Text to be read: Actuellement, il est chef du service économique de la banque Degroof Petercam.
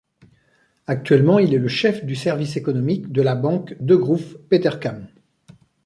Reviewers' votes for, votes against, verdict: 1, 2, rejected